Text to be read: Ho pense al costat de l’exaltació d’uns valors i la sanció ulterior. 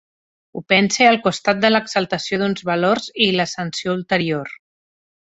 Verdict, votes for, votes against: accepted, 2, 0